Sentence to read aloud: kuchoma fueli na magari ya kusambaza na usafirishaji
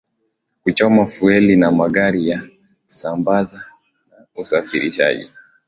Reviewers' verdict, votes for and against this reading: accepted, 9, 2